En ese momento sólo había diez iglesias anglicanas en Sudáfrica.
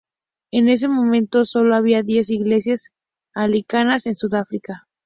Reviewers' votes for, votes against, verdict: 2, 0, accepted